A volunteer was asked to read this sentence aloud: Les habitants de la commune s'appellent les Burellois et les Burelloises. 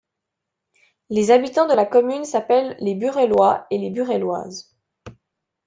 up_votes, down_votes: 2, 0